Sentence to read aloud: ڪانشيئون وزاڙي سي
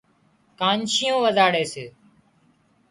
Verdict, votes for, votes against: accepted, 3, 0